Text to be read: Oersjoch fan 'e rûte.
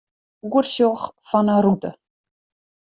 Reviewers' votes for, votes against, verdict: 2, 0, accepted